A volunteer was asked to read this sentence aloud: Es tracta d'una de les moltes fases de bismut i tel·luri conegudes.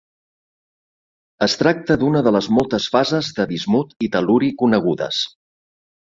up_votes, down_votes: 3, 0